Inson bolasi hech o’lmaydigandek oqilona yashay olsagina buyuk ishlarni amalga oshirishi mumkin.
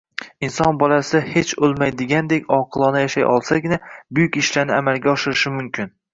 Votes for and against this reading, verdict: 1, 2, rejected